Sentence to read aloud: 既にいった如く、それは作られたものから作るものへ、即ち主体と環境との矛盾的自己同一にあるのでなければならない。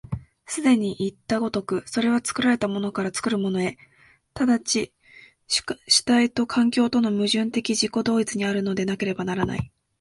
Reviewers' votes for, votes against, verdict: 0, 2, rejected